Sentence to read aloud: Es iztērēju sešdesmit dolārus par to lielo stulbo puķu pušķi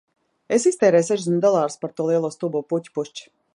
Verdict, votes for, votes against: rejected, 1, 2